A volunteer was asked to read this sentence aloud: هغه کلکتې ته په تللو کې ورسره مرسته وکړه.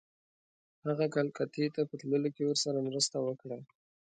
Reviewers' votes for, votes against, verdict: 2, 0, accepted